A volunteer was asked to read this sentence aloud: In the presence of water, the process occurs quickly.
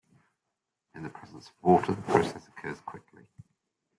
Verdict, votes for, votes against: rejected, 1, 2